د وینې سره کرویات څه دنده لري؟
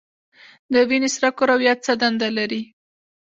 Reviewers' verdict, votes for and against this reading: accepted, 2, 0